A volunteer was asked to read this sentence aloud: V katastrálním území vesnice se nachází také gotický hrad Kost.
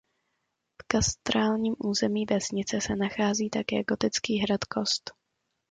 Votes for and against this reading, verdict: 1, 2, rejected